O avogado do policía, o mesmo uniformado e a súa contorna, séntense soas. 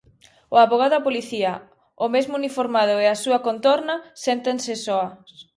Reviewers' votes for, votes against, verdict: 0, 2, rejected